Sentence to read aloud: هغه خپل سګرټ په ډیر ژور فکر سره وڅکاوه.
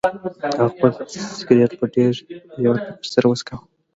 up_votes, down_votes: 1, 2